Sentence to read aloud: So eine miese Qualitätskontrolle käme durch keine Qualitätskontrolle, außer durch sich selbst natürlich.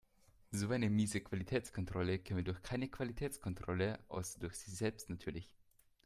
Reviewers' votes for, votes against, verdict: 2, 0, accepted